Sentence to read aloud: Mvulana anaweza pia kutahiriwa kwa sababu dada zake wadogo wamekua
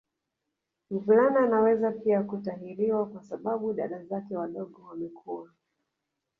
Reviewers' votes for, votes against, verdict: 1, 2, rejected